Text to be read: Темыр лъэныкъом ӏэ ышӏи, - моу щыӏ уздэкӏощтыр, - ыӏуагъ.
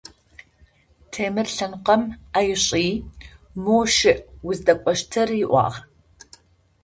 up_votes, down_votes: 2, 0